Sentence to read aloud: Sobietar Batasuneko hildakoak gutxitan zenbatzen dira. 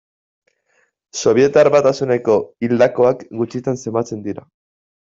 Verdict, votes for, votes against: accepted, 2, 0